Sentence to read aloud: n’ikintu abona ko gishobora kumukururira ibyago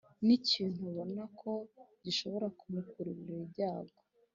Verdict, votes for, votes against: rejected, 0, 2